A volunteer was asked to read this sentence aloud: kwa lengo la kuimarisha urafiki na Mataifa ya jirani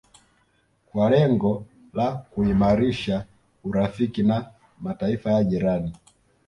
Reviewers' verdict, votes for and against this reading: accepted, 2, 1